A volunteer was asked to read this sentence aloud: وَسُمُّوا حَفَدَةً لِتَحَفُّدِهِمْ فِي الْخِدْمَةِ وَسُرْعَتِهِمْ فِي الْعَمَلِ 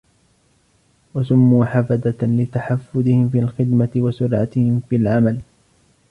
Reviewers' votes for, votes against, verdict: 2, 0, accepted